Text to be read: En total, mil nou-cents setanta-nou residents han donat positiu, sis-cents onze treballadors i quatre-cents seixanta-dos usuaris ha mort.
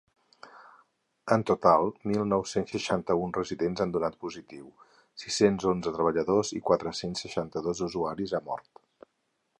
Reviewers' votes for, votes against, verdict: 0, 4, rejected